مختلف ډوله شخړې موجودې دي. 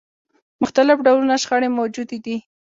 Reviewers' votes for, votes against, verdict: 2, 0, accepted